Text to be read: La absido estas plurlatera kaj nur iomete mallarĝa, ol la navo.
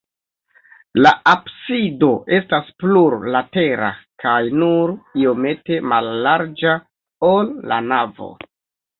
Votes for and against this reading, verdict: 2, 0, accepted